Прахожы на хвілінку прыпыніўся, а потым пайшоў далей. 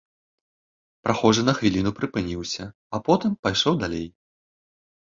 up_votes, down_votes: 1, 3